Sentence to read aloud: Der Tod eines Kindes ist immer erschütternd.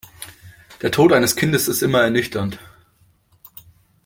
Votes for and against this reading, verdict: 0, 2, rejected